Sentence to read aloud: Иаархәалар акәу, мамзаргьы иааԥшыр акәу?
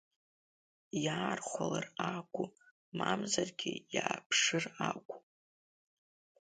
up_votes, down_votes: 2, 1